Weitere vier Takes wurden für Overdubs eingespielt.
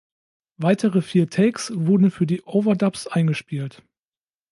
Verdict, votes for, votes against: rejected, 1, 2